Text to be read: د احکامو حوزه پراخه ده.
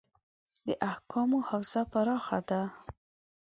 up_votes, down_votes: 2, 0